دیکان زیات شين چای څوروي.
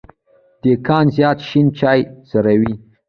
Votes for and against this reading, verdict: 2, 1, accepted